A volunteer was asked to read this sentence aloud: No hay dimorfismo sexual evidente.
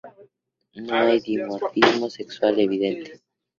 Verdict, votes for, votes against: accepted, 2, 0